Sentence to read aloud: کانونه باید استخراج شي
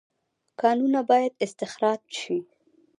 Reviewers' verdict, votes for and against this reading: rejected, 0, 2